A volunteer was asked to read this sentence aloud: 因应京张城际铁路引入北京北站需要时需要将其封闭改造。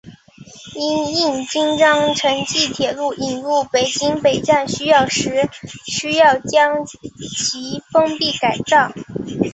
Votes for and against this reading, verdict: 6, 0, accepted